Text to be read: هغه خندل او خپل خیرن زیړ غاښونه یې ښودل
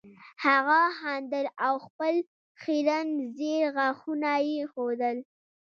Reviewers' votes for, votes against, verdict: 2, 1, accepted